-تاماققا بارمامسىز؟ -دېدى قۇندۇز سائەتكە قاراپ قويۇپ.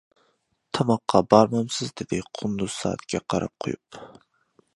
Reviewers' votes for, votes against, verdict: 2, 1, accepted